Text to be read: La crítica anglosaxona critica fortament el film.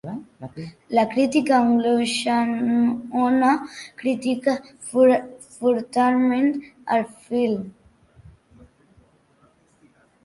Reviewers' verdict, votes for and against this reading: rejected, 0, 3